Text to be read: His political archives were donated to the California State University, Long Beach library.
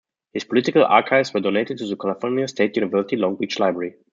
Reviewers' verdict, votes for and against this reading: rejected, 1, 2